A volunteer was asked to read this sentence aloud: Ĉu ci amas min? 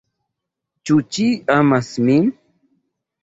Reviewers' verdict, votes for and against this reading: rejected, 0, 2